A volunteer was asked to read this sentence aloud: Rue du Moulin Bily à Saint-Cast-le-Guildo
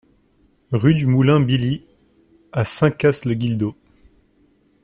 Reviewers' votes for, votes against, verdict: 2, 0, accepted